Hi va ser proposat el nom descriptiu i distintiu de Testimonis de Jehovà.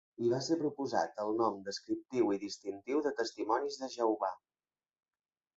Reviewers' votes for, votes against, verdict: 3, 0, accepted